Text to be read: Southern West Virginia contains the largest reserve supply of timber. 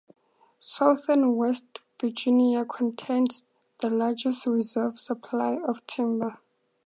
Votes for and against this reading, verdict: 4, 2, accepted